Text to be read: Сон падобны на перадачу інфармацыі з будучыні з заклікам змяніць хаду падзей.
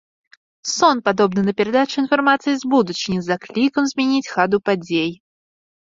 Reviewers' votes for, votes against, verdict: 0, 2, rejected